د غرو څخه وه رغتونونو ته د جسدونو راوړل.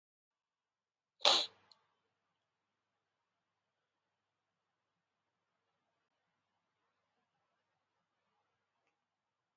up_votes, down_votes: 0, 2